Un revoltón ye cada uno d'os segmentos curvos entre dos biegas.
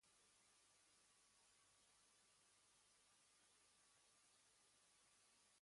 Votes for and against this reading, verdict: 1, 2, rejected